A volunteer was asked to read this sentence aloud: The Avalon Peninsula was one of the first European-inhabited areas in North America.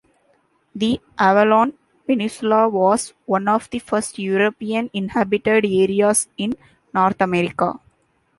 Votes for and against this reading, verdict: 1, 2, rejected